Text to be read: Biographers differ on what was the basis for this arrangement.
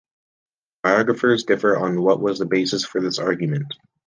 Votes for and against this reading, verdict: 0, 2, rejected